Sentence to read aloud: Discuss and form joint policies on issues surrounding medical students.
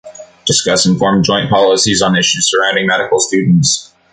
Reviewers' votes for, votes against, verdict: 2, 0, accepted